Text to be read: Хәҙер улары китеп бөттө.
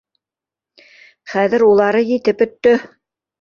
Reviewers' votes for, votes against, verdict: 1, 2, rejected